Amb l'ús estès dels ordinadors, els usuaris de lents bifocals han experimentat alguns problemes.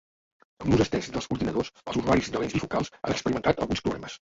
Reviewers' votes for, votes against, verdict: 0, 4, rejected